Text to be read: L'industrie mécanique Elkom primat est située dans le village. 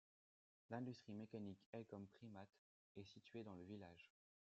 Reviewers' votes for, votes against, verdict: 2, 1, accepted